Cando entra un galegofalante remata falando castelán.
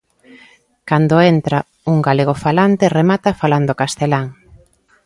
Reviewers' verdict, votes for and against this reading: accepted, 2, 0